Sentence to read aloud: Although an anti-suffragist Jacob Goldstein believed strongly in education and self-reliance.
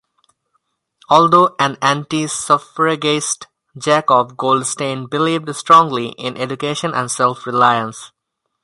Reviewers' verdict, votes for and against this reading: accepted, 2, 0